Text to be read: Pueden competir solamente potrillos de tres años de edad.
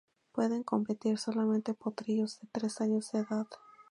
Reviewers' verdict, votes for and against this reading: accepted, 4, 0